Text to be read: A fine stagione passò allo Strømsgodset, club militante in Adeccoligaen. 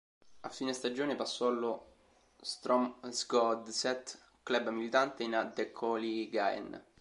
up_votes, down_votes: 0, 2